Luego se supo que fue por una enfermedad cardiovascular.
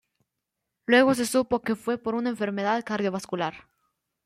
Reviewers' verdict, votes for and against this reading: accepted, 2, 0